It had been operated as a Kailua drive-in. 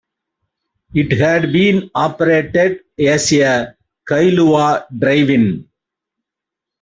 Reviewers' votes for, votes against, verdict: 2, 0, accepted